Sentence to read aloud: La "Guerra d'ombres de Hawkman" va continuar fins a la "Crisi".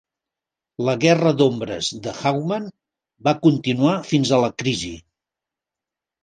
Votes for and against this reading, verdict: 2, 0, accepted